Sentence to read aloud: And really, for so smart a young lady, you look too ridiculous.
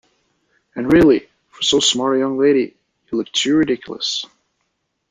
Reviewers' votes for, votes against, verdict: 2, 0, accepted